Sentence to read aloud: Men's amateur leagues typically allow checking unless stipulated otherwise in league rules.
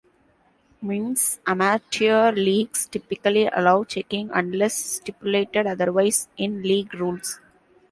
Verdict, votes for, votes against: rejected, 0, 2